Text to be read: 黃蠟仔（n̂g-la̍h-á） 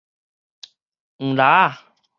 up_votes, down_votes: 4, 0